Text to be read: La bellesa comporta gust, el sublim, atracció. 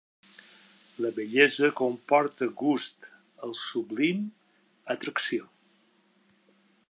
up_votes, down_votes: 2, 0